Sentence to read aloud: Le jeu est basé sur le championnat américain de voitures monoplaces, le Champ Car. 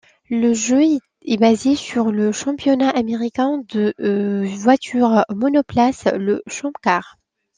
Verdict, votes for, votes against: rejected, 1, 2